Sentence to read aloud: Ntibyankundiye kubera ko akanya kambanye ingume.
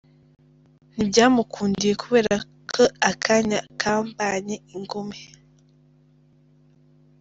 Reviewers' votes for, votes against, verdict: 1, 2, rejected